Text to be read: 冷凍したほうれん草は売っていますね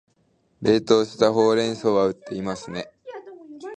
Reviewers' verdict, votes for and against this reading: accepted, 2, 0